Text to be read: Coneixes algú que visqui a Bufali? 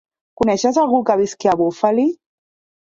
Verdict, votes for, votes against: rejected, 0, 2